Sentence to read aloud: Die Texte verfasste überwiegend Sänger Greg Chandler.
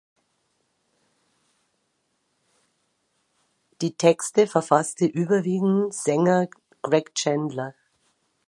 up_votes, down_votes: 2, 0